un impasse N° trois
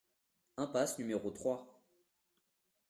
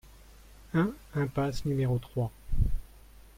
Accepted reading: second